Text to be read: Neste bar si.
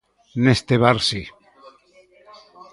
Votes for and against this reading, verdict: 1, 2, rejected